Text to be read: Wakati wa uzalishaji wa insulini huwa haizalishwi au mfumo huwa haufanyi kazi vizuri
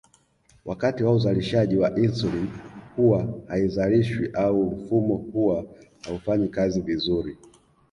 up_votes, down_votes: 2, 0